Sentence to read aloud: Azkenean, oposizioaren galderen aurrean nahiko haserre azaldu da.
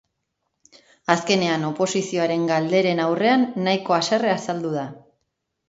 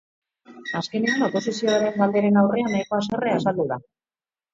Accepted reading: first